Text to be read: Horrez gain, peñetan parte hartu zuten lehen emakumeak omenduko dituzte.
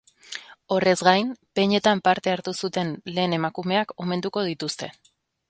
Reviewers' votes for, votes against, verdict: 3, 0, accepted